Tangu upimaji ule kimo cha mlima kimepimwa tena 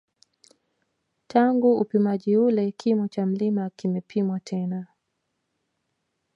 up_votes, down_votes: 0, 2